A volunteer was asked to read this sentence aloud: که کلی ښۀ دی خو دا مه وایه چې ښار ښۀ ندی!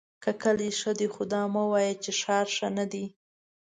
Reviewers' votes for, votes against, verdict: 2, 0, accepted